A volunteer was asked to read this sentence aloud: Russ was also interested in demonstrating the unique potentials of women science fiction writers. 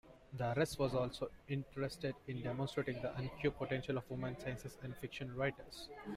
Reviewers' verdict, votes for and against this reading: rejected, 0, 2